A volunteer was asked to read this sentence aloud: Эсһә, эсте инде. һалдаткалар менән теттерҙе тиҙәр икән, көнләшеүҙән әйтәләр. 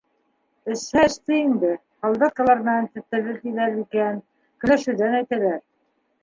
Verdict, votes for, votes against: rejected, 1, 2